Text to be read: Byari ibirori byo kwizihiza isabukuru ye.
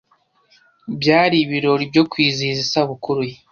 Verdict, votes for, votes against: accepted, 2, 0